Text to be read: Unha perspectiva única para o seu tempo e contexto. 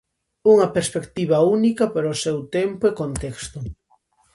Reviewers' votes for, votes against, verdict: 2, 0, accepted